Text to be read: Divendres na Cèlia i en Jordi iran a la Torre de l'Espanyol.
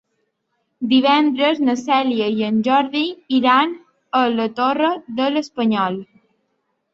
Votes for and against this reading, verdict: 2, 0, accepted